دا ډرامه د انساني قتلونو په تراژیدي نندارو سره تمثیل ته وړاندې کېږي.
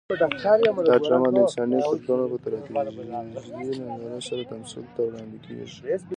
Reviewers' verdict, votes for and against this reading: rejected, 0, 2